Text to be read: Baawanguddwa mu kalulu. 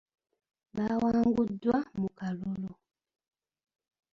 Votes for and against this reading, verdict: 0, 2, rejected